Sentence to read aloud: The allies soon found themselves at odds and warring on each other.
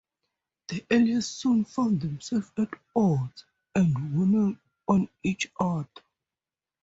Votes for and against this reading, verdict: 0, 2, rejected